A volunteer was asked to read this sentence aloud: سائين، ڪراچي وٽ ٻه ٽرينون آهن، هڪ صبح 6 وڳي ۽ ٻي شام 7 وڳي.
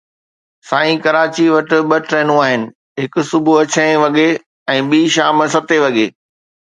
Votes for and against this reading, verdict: 0, 2, rejected